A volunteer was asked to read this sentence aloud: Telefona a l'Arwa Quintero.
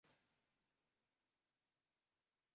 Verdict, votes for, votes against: rejected, 0, 2